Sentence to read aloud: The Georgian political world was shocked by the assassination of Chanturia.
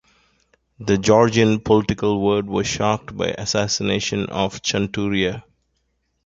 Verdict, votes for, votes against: rejected, 0, 2